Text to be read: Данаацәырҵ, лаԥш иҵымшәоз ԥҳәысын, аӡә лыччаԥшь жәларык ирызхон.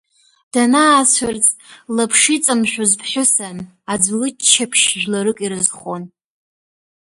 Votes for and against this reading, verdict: 1, 2, rejected